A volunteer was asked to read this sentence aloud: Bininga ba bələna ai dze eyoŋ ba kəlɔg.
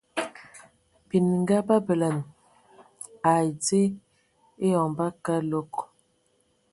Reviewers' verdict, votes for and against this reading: accepted, 2, 0